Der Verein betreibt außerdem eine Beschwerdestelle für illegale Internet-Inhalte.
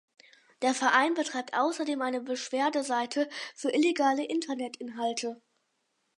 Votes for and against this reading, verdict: 0, 4, rejected